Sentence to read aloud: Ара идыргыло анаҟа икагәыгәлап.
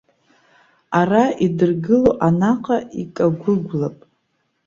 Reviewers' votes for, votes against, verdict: 1, 2, rejected